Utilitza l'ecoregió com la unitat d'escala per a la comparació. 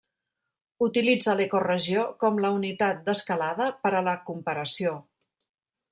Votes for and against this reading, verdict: 0, 2, rejected